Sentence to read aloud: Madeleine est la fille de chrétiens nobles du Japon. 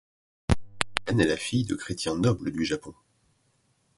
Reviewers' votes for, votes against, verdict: 0, 2, rejected